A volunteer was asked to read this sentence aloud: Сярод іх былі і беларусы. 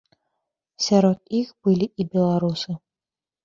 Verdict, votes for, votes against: accepted, 2, 0